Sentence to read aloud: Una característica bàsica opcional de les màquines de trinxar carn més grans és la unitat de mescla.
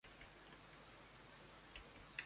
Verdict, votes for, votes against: rejected, 0, 2